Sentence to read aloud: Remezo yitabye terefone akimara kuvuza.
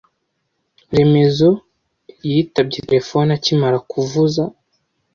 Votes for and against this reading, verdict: 2, 0, accepted